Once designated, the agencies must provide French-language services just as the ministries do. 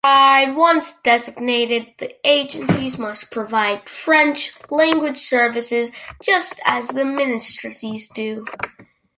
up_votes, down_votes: 0, 2